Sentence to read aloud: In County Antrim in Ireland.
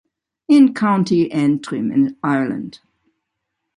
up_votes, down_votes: 2, 0